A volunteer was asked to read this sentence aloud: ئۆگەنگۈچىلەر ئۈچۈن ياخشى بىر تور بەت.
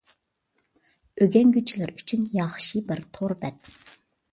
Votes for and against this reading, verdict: 2, 0, accepted